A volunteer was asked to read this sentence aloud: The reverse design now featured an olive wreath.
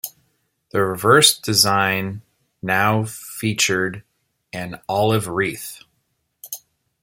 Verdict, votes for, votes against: accepted, 2, 0